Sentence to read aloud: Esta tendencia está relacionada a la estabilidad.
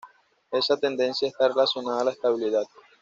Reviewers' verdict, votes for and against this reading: rejected, 1, 2